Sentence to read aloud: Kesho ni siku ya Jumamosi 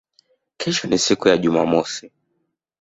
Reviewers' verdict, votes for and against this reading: accepted, 2, 0